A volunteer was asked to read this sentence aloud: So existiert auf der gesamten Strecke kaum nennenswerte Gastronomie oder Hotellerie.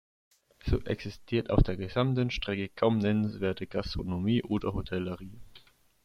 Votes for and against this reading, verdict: 2, 1, accepted